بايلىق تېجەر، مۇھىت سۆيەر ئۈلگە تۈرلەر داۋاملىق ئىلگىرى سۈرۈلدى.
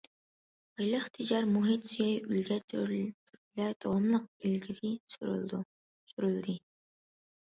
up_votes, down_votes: 0, 2